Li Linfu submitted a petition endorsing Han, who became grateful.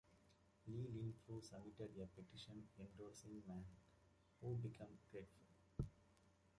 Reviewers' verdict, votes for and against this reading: rejected, 0, 2